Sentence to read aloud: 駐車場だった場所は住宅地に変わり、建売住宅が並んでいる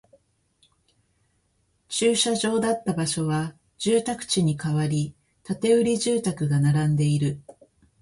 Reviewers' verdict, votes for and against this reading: accepted, 3, 1